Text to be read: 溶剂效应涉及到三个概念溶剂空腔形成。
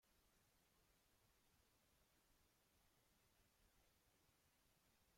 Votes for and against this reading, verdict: 0, 2, rejected